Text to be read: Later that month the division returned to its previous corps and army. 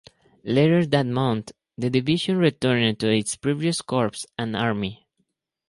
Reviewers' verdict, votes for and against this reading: accepted, 2, 0